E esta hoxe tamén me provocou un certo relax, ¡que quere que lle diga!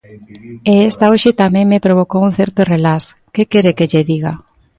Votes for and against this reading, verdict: 2, 0, accepted